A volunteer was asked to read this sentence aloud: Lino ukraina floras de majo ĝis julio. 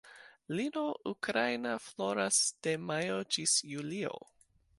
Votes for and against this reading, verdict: 0, 2, rejected